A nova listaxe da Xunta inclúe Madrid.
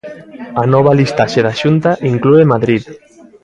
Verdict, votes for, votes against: accepted, 2, 0